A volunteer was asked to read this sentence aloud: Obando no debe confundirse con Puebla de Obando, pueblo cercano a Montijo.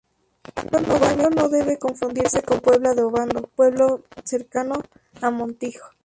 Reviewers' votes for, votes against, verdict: 0, 2, rejected